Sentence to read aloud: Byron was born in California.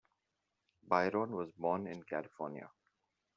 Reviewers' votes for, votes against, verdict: 2, 0, accepted